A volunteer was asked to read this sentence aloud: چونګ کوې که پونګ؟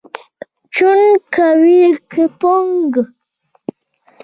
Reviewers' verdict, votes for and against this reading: rejected, 1, 2